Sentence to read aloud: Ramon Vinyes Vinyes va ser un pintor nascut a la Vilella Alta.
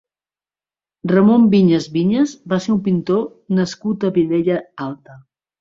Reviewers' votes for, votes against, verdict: 0, 2, rejected